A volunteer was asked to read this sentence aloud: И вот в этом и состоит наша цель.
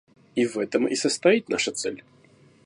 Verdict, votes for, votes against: rejected, 1, 2